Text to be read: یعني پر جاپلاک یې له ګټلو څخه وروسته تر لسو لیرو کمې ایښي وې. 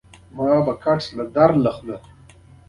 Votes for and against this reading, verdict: 2, 1, accepted